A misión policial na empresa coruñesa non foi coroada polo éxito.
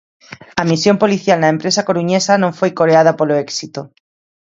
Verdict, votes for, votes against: rejected, 1, 2